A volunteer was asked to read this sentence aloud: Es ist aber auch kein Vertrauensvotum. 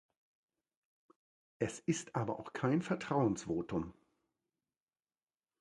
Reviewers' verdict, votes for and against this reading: accepted, 2, 0